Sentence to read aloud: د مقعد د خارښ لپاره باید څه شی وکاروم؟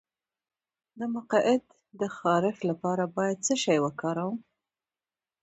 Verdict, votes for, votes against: rejected, 1, 2